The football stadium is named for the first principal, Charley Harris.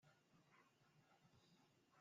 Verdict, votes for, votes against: rejected, 0, 2